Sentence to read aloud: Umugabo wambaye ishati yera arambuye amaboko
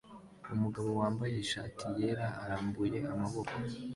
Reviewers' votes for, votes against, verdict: 2, 0, accepted